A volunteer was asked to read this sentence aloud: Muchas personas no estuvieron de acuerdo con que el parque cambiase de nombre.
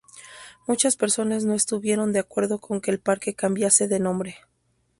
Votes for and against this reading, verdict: 0, 2, rejected